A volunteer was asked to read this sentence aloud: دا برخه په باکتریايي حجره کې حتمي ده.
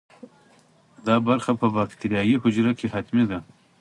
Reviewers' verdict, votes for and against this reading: accepted, 2, 0